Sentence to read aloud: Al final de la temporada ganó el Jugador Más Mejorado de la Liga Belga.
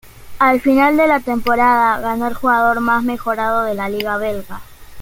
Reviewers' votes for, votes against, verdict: 2, 0, accepted